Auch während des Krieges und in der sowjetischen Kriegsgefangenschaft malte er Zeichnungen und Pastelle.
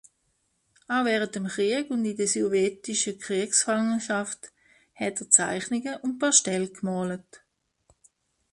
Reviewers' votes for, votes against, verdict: 0, 2, rejected